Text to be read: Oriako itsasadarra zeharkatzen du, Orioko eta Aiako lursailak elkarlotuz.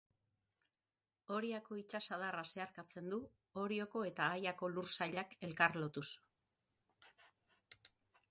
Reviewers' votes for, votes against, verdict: 0, 3, rejected